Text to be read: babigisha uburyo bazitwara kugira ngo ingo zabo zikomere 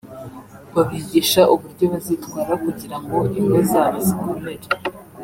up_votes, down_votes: 2, 1